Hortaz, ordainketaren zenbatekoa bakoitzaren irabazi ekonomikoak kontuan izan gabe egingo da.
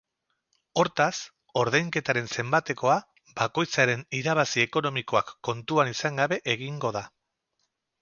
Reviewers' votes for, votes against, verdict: 0, 2, rejected